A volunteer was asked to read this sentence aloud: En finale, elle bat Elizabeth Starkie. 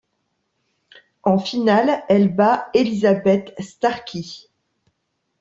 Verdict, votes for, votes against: accepted, 2, 0